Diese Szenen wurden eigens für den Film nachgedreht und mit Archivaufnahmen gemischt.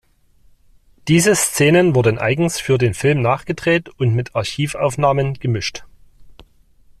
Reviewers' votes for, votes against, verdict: 2, 0, accepted